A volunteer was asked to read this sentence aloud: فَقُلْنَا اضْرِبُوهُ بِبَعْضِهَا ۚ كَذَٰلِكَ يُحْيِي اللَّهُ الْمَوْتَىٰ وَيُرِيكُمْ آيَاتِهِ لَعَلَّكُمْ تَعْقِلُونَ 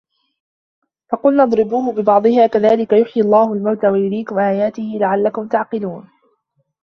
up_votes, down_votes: 2, 1